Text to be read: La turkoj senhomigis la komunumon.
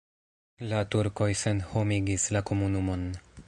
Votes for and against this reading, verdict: 0, 2, rejected